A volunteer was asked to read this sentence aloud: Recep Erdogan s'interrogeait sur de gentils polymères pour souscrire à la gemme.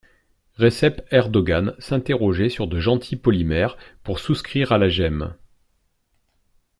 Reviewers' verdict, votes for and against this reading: accepted, 2, 1